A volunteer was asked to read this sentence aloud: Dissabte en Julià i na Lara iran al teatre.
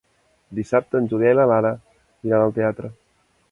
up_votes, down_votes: 0, 2